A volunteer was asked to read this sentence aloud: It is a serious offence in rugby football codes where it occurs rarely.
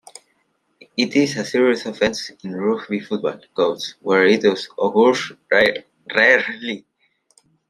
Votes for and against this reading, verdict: 0, 2, rejected